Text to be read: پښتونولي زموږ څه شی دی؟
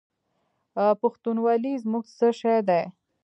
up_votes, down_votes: 2, 0